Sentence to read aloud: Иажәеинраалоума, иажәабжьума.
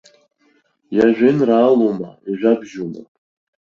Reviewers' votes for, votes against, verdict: 2, 0, accepted